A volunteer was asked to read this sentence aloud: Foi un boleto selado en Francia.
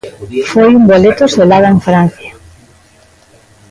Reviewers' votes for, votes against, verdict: 2, 1, accepted